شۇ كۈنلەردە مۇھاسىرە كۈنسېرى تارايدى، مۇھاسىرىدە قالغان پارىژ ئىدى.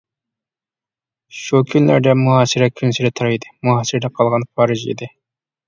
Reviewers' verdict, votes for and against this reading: rejected, 0, 2